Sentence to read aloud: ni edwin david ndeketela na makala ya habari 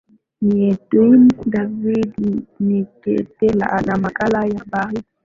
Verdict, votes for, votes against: rejected, 3, 4